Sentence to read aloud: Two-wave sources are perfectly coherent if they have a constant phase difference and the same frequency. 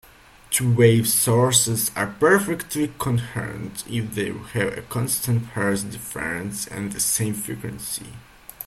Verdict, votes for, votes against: rejected, 0, 2